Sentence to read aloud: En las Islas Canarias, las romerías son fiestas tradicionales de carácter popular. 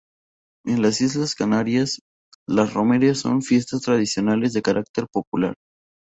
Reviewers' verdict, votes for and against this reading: rejected, 0, 2